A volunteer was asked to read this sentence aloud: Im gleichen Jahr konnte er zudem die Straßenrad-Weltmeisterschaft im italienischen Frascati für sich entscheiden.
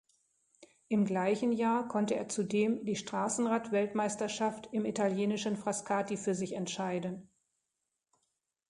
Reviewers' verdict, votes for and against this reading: accepted, 2, 0